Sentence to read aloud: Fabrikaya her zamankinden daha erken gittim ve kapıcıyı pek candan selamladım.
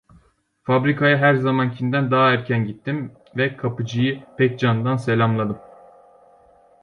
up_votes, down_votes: 1, 2